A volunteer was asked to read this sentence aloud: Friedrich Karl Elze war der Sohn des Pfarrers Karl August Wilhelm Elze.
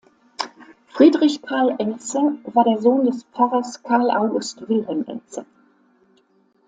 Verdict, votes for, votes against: accepted, 2, 0